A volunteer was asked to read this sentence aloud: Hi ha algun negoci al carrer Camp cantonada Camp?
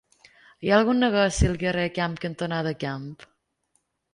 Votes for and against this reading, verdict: 2, 1, accepted